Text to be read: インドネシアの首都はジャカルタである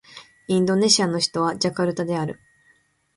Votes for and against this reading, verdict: 3, 0, accepted